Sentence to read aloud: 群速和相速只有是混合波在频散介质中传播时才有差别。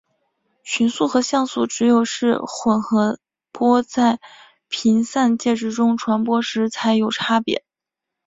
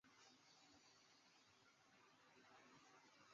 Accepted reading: first